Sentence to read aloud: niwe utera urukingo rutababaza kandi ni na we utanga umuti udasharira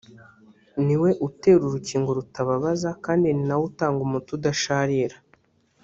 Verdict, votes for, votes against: accepted, 2, 1